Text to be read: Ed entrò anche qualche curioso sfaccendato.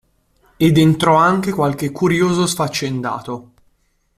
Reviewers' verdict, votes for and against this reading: accepted, 2, 0